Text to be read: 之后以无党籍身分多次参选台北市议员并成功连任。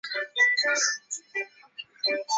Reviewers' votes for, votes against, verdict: 0, 3, rejected